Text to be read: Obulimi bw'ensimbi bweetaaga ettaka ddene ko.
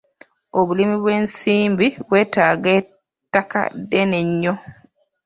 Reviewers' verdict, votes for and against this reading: rejected, 1, 2